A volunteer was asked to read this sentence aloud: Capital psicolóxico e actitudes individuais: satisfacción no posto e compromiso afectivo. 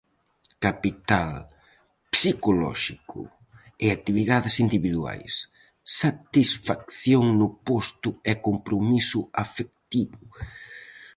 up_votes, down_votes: 2, 2